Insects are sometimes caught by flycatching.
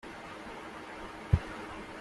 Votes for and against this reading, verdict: 0, 2, rejected